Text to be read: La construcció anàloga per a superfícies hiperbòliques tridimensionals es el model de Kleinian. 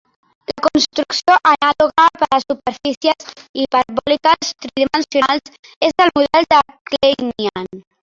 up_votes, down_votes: 0, 3